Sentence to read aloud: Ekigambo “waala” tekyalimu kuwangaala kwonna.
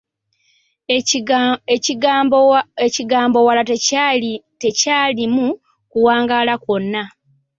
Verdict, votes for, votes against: accepted, 2, 1